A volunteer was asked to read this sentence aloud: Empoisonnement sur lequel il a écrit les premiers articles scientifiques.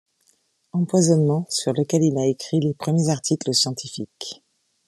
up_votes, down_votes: 3, 0